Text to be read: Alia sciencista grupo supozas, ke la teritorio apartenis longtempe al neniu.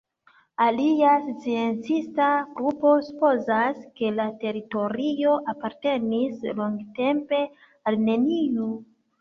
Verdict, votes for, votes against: rejected, 0, 2